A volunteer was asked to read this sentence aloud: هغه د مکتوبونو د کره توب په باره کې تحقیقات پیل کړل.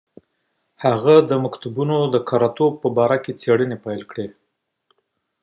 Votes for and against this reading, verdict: 2, 1, accepted